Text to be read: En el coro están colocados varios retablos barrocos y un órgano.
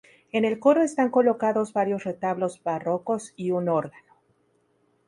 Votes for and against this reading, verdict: 4, 0, accepted